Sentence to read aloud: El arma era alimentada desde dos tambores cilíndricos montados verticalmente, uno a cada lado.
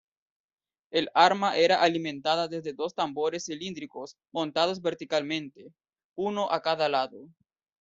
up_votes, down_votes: 2, 0